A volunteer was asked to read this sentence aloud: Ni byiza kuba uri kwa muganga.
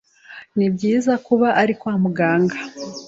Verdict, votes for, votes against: accepted, 2, 1